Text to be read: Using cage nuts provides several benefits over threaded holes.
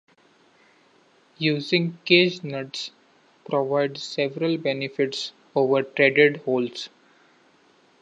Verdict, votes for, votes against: accepted, 2, 0